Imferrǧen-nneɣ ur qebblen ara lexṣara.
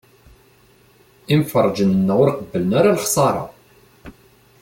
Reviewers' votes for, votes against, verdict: 2, 0, accepted